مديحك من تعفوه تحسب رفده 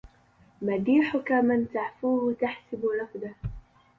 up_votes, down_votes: 0, 2